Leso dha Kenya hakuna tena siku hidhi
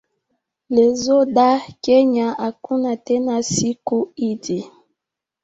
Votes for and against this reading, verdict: 2, 1, accepted